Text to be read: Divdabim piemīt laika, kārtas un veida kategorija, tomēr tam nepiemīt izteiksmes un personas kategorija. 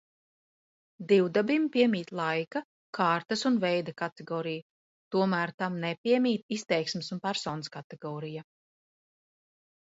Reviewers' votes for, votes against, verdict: 2, 0, accepted